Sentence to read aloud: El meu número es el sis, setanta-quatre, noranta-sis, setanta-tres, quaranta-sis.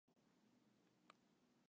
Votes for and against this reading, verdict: 0, 2, rejected